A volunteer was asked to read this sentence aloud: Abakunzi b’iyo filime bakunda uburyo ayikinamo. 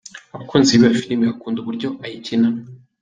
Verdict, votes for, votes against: accepted, 2, 0